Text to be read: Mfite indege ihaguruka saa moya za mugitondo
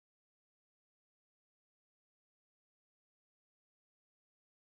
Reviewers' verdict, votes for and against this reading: rejected, 1, 2